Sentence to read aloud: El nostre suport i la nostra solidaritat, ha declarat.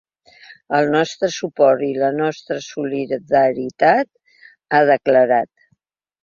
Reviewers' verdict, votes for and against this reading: accepted, 3, 0